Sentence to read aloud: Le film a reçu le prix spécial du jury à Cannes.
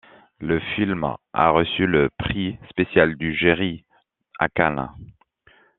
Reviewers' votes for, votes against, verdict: 0, 2, rejected